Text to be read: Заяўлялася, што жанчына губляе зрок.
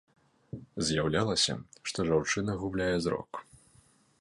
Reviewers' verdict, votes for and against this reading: rejected, 1, 2